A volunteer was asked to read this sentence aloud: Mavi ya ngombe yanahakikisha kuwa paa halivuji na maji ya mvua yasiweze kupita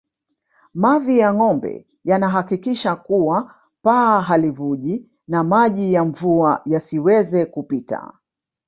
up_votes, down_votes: 0, 2